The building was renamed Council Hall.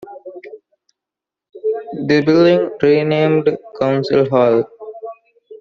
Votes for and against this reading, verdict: 0, 2, rejected